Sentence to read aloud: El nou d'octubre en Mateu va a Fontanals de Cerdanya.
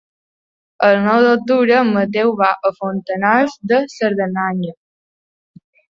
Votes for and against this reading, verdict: 0, 2, rejected